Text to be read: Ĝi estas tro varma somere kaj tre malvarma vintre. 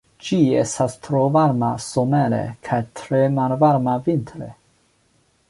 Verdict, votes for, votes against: accepted, 2, 0